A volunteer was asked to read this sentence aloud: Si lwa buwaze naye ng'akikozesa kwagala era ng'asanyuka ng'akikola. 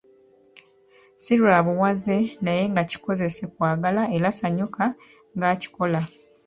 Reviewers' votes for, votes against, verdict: 0, 2, rejected